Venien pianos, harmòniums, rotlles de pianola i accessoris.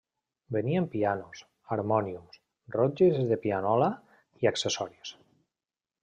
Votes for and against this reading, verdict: 1, 2, rejected